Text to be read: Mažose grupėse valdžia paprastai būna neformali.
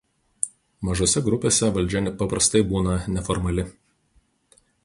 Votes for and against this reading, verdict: 0, 2, rejected